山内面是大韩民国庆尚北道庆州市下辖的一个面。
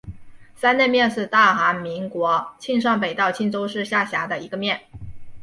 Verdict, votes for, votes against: accepted, 2, 1